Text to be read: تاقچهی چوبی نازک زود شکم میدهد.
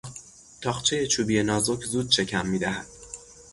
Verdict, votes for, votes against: rejected, 0, 3